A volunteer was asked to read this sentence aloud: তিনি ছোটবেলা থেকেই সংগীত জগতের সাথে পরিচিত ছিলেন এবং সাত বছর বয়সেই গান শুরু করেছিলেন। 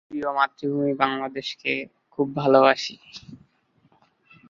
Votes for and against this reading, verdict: 1, 2, rejected